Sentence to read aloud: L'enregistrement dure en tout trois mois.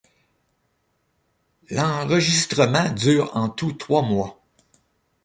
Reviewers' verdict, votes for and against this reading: rejected, 1, 2